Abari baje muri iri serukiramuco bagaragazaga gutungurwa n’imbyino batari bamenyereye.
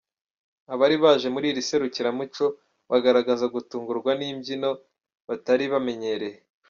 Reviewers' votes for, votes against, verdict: 3, 0, accepted